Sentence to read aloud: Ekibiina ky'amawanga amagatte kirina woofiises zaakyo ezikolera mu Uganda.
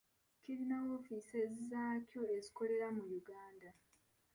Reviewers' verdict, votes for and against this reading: rejected, 0, 2